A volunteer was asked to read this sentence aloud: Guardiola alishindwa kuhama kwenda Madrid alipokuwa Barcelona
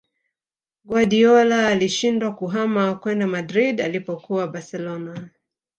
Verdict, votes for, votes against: rejected, 1, 2